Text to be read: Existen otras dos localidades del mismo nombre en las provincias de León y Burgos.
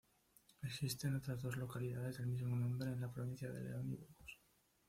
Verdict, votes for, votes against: accepted, 2, 0